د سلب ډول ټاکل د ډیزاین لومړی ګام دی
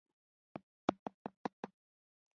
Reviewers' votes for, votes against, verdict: 1, 2, rejected